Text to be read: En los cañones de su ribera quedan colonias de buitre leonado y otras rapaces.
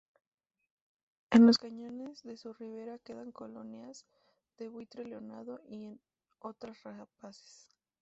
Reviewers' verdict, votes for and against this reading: rejected, 0, 2